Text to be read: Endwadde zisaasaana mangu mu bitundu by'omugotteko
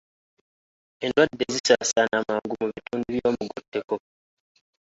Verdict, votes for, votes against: rejected, 1, 2